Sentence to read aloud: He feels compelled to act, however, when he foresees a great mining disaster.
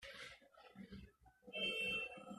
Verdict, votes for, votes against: rejected, 0, 2